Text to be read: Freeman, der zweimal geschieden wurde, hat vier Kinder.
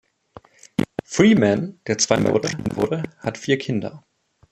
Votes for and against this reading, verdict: 0, 2, rejected